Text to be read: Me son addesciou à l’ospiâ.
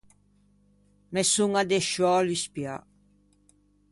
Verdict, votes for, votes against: rejected, 1, 2